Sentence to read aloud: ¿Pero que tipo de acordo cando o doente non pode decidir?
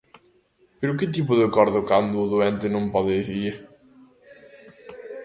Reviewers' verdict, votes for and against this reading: rejected, 1, 2